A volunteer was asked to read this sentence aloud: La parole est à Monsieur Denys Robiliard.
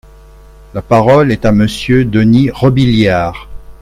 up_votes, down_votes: 4, 1